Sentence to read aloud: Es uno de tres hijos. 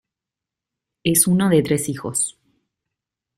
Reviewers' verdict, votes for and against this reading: accepted, 2, 0